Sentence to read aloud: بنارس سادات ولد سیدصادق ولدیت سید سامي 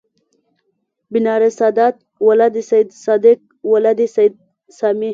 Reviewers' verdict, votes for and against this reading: rejected, 1, 2